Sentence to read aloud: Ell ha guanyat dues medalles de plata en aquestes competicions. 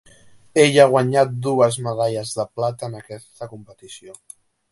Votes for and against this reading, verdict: 2, 3, rejected